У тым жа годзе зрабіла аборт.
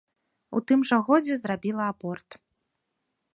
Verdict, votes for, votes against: accepted, 2, 0